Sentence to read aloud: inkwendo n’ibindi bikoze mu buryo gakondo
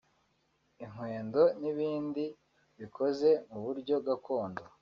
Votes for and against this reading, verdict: 2, 0, accepted